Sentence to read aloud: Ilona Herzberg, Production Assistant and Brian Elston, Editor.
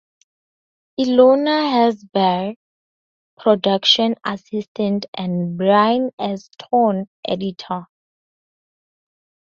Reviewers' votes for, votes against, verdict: 2, 0, accepted